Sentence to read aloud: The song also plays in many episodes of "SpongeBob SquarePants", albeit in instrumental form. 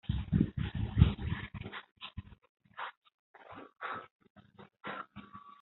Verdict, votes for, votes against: rejected, 0, 2